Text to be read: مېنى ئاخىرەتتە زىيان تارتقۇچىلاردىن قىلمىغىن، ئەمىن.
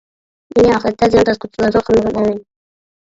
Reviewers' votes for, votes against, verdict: 0, 2, rejected